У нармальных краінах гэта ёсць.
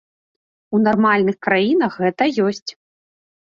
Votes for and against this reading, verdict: 2, 0, accepted